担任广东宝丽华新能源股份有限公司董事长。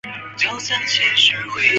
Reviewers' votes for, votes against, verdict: 0, 4, rejected